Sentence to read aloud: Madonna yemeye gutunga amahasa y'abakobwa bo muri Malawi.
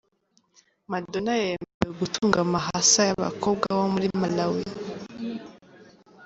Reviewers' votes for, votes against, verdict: 0, 2, rejected